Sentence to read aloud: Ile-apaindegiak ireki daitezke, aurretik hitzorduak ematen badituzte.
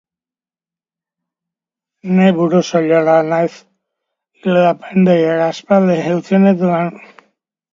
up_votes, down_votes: 0, 3